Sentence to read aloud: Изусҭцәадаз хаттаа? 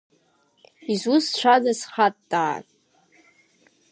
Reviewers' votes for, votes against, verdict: 3, 0, accepted